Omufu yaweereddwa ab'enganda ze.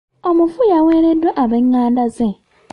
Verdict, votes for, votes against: accepted, 2, 1